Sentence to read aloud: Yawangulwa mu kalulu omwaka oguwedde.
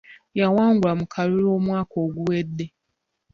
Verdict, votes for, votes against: rejected, 1, 2